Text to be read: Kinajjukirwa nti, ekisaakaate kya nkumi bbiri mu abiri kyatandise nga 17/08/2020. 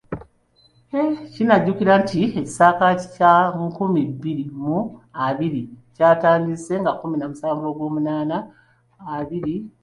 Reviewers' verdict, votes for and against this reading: rejected, 0, 2